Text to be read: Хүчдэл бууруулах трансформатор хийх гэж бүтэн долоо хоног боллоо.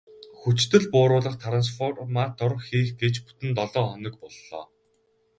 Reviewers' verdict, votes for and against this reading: rejected, 2, 2